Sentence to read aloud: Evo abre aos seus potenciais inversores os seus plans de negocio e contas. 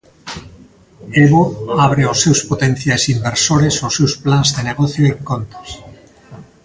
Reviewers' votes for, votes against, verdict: 1, 2, rejected